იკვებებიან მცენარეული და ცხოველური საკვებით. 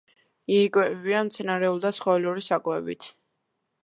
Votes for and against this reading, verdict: 2, 0, accepted